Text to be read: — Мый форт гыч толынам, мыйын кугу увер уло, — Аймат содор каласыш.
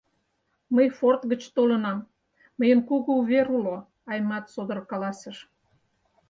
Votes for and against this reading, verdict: 4, 0, accepted